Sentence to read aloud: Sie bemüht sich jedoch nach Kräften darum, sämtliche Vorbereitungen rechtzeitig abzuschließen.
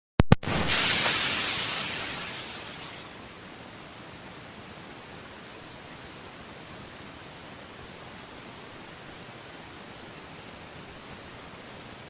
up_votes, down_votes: 0, 2